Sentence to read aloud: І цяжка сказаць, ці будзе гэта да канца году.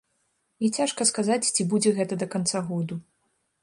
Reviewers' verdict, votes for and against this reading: accepted, 2, 0